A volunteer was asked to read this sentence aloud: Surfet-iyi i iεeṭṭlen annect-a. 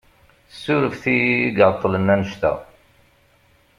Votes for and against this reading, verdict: 2, 0, accepted